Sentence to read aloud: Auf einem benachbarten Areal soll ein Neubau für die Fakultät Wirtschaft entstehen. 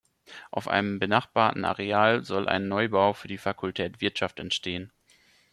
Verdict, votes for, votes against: accepted, 2, 0